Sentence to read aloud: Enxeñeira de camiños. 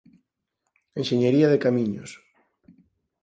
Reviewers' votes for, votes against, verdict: 2, 4, rejected